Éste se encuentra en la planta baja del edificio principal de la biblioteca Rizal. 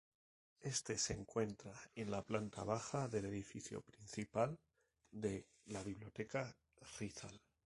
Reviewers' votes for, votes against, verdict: 0, 2, rejected